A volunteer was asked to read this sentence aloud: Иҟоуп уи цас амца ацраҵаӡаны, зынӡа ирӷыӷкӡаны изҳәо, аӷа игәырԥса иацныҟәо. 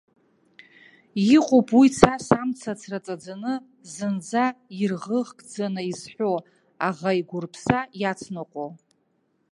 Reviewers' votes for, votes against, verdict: 0, 2, rejected